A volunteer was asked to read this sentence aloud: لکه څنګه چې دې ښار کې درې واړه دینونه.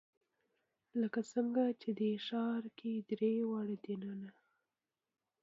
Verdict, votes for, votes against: rejected, 1, 2